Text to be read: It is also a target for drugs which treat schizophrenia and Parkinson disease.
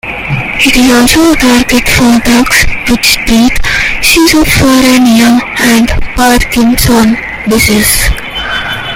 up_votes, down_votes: 0, 2